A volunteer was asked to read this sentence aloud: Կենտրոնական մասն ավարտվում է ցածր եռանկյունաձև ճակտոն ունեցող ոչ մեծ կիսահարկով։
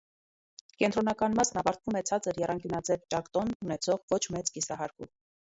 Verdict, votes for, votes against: rejected, 1, 2